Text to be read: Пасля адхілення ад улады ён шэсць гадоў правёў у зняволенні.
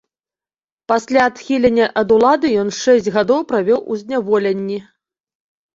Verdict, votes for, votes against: rejected, 1, 2